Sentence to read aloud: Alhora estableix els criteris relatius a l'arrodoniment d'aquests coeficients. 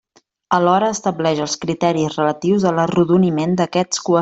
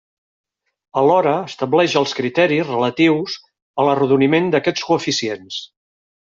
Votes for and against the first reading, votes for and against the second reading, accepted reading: 0, 2, 4, 0, second